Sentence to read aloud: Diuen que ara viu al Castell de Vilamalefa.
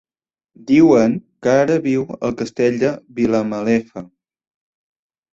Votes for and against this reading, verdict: 3, 0, accepted